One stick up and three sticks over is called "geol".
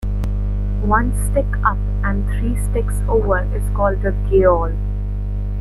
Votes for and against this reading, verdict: 2, 0, accepted